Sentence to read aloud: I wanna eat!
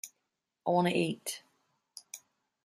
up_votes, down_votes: 2, 0